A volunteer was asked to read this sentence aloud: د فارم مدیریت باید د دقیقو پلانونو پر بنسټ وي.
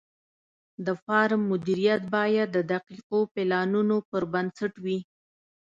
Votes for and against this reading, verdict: 2, 0, accepted